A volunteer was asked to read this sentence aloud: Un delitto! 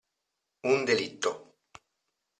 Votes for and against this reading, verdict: 2, 1, accepted